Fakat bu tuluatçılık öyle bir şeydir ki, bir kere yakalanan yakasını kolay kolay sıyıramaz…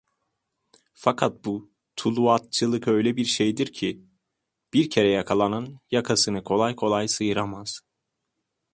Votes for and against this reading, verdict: 2, 0, accepted